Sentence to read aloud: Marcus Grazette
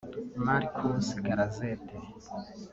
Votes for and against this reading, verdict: 1, 2, rejected